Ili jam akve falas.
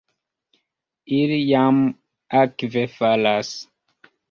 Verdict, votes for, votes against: accepted, 2, 0